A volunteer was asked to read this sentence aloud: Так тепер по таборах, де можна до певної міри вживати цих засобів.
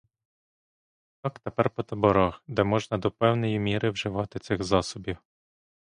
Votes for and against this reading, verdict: 0, 2, rejected